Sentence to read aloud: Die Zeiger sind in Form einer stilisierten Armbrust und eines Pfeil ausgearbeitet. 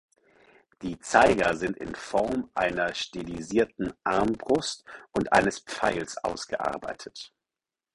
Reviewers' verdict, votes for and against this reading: rejected, 0, 4